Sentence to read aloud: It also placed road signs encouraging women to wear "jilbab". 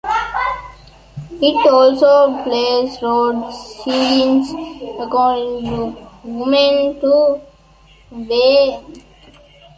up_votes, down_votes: 0, 3